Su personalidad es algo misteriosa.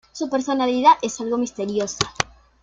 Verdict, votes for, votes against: accepted, 2, 0